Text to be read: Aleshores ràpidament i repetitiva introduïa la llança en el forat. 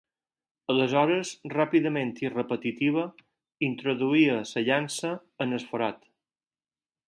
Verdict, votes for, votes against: rejected, 2, 4